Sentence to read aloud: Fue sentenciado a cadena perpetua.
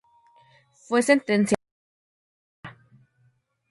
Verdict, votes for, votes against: rejected, 0, 2